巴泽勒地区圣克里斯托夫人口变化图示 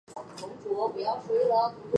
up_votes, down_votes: 0, 4